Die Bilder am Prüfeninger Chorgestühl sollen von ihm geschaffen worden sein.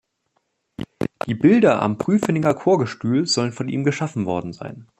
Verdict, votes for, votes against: rejected, 1, 2